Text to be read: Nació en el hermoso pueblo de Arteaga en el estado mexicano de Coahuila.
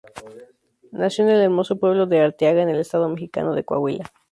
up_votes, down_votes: 0, 2